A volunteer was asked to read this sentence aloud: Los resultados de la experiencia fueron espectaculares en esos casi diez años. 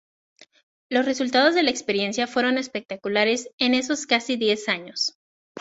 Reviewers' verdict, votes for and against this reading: accepted, 2, 0